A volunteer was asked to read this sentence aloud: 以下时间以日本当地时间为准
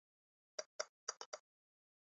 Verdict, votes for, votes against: rejected, 0, 2